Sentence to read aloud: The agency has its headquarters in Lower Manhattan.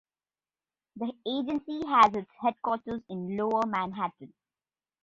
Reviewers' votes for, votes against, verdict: 1, 2, rejected